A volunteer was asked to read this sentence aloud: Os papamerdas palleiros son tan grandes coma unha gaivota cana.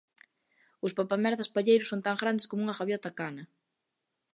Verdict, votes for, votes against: rejected, 1, 2